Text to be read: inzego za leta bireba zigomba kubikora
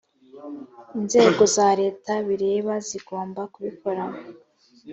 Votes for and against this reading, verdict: 2, 0, accepted